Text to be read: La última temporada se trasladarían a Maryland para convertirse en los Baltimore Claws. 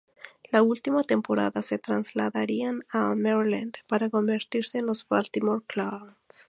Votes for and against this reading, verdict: 0, 2, rejected